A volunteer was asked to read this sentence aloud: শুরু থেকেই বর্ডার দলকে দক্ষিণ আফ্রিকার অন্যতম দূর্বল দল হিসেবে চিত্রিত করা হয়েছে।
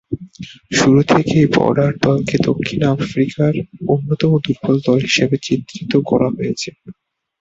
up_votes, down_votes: 1, 2